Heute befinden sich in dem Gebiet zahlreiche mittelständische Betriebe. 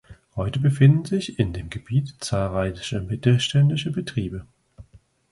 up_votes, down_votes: 1, 2